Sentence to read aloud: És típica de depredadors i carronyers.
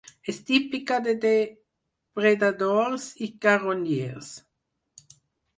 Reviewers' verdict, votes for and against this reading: accepted, 4, 2